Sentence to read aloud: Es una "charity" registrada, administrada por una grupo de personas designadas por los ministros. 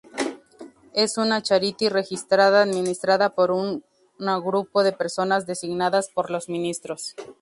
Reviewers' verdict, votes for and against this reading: rejected, 0, 2